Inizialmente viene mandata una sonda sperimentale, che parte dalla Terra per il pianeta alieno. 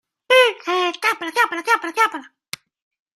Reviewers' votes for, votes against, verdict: 0, 2, rejected